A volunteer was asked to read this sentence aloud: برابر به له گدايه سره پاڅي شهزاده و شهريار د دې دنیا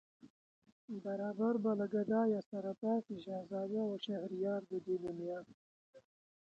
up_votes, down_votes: 1, 3